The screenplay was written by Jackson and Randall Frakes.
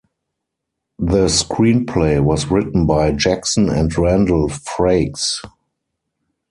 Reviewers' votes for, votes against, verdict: 2, 4, rejected